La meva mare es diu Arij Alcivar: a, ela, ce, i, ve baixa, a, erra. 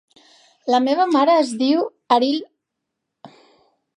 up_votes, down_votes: 0, 2